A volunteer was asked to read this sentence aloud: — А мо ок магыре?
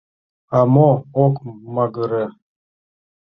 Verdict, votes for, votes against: accepted, 2, 0